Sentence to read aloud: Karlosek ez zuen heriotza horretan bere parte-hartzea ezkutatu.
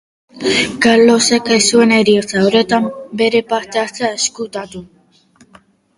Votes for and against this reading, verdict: 2, 0, accepted